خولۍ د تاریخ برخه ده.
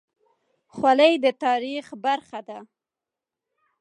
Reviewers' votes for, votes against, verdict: 3, 0, accepted